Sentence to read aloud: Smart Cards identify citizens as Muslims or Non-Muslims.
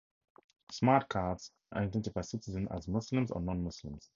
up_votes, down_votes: 2, 0